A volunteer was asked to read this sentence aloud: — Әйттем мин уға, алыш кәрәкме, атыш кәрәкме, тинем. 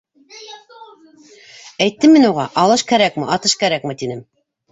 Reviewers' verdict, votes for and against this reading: rejected, 1, 2